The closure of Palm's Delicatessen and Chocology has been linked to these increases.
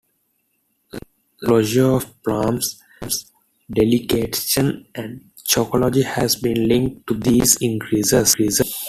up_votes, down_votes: 2, 1